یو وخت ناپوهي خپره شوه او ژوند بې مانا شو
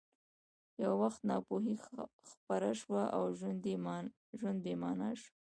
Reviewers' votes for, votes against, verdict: 2, 0, accepted